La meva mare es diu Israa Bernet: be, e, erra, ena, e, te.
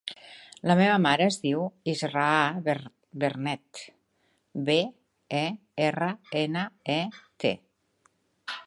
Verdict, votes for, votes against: rejected, 1, 2